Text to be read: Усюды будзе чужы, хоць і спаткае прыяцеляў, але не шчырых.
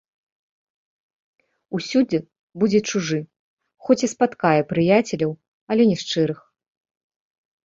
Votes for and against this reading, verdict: 1, 2, rejected